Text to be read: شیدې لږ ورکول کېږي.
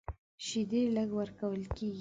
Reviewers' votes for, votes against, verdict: 3, 1, accepted